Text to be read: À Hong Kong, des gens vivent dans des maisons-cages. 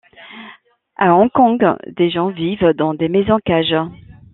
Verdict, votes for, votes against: accepted, 2, 0